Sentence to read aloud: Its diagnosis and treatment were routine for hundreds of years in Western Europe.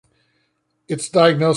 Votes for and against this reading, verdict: 0, 2, rejected